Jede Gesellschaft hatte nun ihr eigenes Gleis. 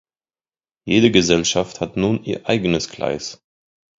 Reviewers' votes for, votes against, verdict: 0, 2, rejected